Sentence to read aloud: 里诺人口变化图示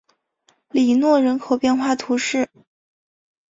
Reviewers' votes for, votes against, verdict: 2, 0, accepted